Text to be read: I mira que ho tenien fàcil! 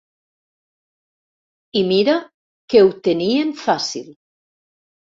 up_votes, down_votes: 3, 0